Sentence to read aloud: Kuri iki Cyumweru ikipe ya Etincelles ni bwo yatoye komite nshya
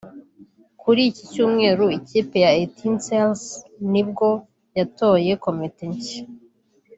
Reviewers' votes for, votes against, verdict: 2, 0, accepted